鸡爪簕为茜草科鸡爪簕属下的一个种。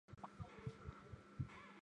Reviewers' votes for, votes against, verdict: 0, 3, rejected